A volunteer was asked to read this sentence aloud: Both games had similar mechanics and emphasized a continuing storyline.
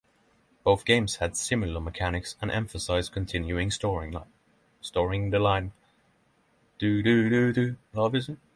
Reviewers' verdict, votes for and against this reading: rejected, 0, 6